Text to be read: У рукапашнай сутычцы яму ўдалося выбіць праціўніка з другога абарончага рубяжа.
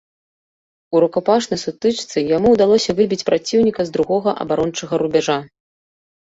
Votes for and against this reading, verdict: 2, 0, accepted